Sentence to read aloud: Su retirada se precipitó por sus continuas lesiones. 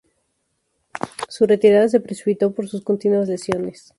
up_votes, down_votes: 0, 2